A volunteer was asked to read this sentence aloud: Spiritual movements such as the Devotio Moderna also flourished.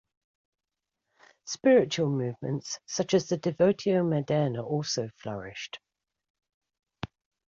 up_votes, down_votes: 2, 0